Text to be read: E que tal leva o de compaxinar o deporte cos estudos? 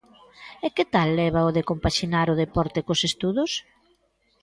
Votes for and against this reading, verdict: 2, 0, accepted